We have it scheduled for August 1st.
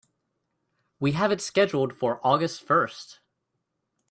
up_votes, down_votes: 0, 2